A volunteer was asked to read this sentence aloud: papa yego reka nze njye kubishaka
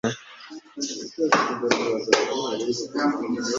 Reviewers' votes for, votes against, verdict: 0, 4, rejected